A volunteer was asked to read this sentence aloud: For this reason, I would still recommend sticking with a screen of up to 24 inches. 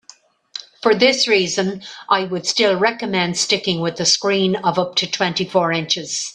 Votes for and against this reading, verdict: 0, 2, rejected